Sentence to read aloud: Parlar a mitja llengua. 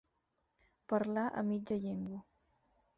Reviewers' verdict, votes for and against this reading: accepted, 4, 0